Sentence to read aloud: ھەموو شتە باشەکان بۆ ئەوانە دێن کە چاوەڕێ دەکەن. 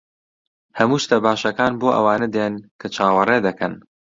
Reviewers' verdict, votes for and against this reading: rejected, 1, 2